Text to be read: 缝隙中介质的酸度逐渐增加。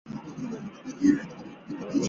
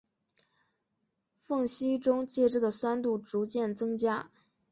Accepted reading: second